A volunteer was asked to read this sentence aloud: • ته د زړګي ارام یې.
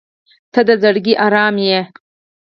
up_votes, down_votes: 2, 4